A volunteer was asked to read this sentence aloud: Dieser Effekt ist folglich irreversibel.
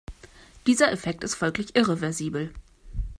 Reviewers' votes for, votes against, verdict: 2, 0, accepted